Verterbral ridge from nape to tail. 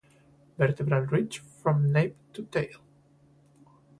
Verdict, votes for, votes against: rejected, 0, 2